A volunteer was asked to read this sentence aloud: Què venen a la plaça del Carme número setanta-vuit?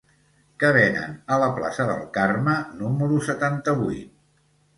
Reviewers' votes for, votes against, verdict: 2, 0, accepted